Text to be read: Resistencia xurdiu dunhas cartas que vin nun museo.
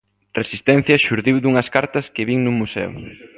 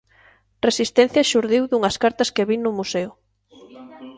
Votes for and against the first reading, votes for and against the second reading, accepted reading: 2, 0, 0, 2, first